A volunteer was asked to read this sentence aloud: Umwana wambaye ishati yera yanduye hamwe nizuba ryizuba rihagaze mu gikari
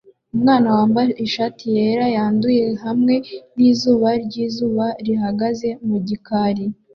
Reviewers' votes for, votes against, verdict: 2, 0, accepted